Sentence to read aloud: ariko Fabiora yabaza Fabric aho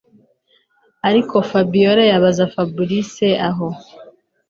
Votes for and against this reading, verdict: 2, 0, accepted